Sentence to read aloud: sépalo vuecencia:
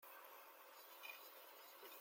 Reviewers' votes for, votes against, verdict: 0, 2, rejected